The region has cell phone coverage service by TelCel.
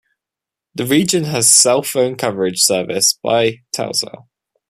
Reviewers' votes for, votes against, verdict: 2, 0, accepted